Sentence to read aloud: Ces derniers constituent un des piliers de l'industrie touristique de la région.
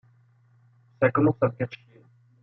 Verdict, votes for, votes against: rejected, 0, 2